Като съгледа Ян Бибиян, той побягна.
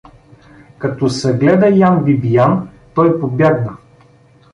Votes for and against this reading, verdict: 2, 0, accepted